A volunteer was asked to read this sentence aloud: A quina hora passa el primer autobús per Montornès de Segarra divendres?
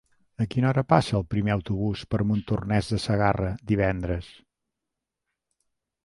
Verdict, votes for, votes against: accepted, 4, 0